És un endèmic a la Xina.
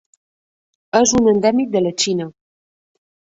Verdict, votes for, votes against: rejected, 1, 2